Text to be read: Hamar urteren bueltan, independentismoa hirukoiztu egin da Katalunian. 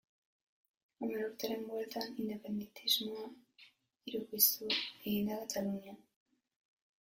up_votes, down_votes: 0, 2